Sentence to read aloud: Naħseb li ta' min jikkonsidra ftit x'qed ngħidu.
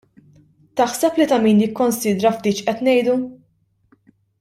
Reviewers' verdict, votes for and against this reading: rejected, 0, 2